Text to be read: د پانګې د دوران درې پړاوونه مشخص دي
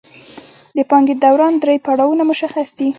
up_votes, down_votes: 2, 0